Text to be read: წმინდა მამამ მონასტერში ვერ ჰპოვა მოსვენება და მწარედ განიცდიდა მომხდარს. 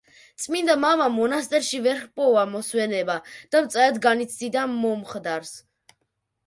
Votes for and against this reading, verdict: 0, 2, rejected